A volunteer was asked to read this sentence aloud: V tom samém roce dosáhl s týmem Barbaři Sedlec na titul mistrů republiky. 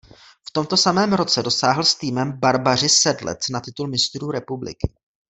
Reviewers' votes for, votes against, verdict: 0, 2, rejected